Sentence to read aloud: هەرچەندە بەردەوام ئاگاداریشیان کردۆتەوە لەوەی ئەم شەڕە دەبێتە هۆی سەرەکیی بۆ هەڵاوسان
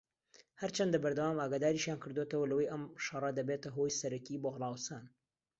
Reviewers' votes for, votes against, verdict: 2, 0, accepted